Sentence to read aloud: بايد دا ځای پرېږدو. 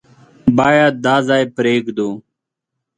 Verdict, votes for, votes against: accepted, 2, 0